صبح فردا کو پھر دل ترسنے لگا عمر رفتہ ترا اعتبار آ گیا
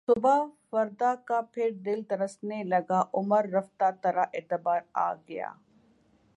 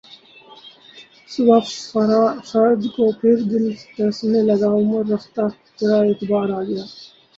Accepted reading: first